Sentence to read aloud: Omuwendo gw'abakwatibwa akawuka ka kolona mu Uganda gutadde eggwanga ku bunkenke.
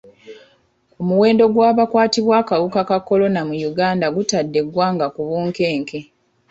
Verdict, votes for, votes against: rejected, 1, 2